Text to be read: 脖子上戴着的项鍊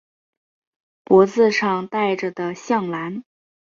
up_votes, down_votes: 0, 2